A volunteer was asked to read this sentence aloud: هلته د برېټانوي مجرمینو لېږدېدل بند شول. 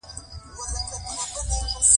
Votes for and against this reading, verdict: 2, 1, accepted